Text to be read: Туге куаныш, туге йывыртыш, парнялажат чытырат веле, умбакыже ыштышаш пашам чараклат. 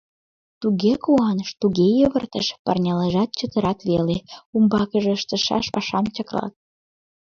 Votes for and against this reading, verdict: 1, 2, rejected